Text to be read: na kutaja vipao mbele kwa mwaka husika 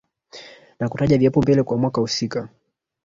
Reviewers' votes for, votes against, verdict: 0, 2, rejected